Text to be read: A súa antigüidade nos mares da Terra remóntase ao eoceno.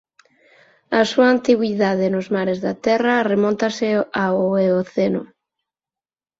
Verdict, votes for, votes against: accepted, 4, 0